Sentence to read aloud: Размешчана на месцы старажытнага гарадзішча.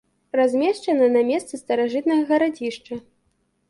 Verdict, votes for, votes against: accepted, 2, 0